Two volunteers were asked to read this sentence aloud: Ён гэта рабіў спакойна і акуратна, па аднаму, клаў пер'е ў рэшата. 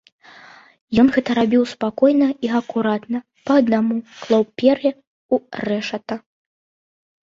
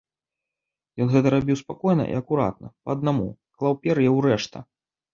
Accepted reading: first